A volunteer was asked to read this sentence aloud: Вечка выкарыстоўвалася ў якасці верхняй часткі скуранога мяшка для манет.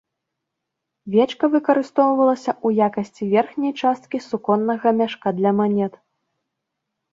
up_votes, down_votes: 0, 2